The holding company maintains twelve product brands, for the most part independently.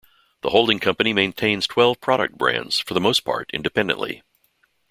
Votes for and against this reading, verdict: 2, 0, accepted